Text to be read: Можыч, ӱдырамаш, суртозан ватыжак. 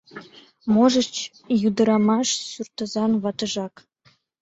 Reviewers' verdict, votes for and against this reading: accepted, 2, 0